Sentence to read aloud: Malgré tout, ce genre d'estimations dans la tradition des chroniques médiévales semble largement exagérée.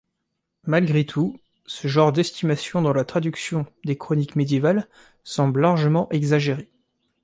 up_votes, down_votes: 0, 3